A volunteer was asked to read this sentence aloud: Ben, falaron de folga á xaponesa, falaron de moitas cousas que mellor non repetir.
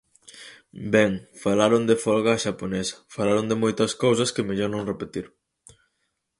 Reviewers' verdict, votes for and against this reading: accepted, 4, 0